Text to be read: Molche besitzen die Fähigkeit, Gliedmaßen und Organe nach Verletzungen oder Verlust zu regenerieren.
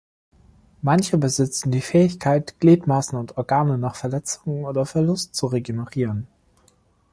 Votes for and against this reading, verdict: 1, 2, rejected